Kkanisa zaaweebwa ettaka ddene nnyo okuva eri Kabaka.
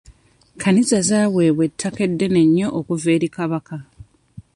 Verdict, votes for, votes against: rejected, 1, 2